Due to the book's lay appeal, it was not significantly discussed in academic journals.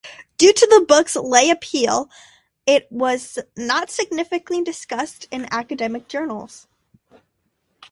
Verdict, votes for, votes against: accepted, 2, 1